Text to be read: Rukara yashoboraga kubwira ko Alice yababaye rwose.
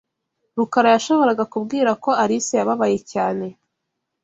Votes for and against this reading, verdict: 0, 2, rejected